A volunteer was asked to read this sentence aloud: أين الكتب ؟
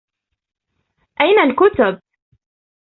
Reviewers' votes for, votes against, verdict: 2, 0, accepted